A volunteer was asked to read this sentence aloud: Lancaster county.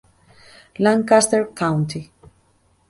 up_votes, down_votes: 2, 0